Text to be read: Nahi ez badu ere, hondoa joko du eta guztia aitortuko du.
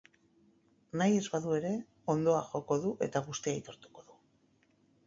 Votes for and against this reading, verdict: 6, 0, accepted